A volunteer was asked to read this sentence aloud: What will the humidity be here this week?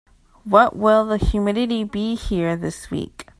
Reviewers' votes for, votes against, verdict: 2, 0, accepted